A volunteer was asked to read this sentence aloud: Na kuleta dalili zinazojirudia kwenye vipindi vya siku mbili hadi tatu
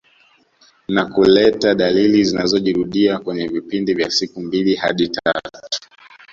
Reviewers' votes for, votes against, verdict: 0, 2, rejected